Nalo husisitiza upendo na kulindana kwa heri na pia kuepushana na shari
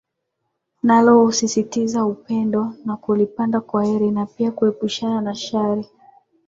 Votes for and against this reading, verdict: 8, 1, accepted